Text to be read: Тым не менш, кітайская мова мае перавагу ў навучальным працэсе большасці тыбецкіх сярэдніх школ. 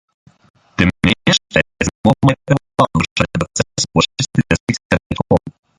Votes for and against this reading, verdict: 0, 3, rejected